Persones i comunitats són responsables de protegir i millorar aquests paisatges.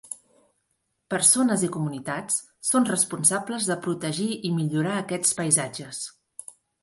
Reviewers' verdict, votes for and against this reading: accepted, 3, 0